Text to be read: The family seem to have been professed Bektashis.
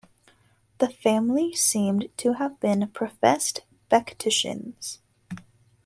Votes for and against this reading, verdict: 2, 4, rejected